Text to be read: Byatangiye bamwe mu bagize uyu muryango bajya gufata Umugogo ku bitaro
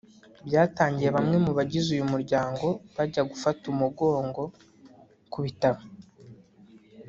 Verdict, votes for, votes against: rejected, 0, 2